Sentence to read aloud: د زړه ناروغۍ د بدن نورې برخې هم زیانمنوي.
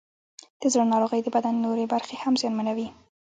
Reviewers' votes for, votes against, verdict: 2, 1, accepted